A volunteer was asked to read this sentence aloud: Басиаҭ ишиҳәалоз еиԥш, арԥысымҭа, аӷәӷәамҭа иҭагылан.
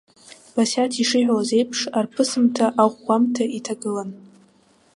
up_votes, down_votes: 2, 0